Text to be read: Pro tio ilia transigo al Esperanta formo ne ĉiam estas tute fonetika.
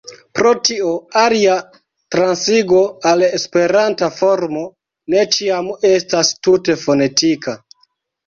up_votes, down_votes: 0, 2